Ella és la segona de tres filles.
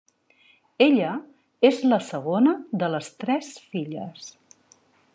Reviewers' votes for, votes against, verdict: 0, 2, rejected